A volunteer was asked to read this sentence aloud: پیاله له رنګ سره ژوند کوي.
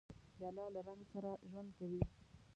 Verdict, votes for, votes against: rejected, 1, 2